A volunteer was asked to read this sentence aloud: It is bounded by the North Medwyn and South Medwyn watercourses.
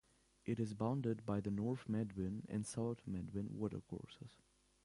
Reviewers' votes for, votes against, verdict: 0, 2, rejected